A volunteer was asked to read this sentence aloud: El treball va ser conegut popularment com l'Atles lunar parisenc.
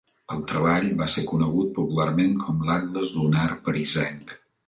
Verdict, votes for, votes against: accepted, 2, 0